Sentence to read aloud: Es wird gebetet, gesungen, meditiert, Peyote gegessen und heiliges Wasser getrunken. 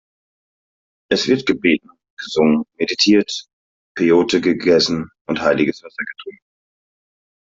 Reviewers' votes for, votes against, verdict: 2, 0, accepted